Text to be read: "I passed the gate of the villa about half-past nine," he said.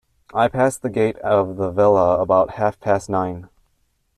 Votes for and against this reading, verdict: 0, 2, rejected